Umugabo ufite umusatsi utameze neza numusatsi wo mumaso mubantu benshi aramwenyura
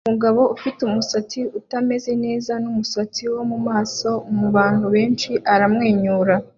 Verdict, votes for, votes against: accepted, 2, 0